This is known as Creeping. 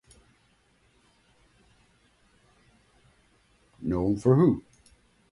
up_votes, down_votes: 1, 2